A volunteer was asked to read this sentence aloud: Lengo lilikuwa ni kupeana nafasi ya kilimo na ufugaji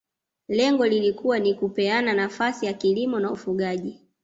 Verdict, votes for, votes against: accepted, 2, 0